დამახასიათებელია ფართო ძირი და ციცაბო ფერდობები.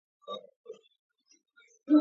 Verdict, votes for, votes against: rejected, 0, 2